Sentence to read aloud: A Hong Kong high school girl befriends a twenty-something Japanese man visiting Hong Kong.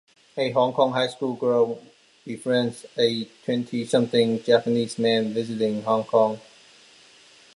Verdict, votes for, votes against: accepted, 2, 0